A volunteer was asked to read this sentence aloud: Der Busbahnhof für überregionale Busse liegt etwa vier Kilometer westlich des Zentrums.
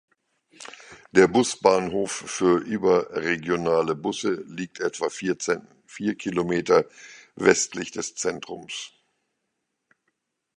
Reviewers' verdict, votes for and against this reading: rejected, 0, 2